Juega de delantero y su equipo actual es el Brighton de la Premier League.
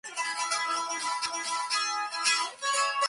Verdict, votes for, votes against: rejected, 0, 2